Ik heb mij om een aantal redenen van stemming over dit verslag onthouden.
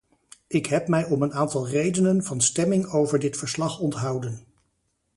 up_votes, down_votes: 2, 0